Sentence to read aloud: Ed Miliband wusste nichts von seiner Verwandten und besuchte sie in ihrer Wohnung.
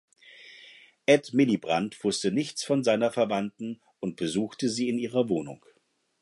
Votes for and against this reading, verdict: 2, 4, rejected